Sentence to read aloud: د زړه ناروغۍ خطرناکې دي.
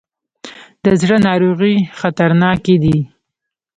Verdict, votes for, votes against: rejected, 1, 2